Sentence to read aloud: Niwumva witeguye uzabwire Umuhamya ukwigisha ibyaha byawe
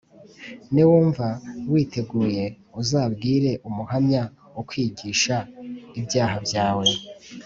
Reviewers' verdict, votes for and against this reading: accepted, 2, 0